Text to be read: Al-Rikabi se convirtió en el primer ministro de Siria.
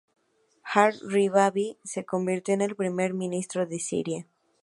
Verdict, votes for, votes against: rejected, 2, 2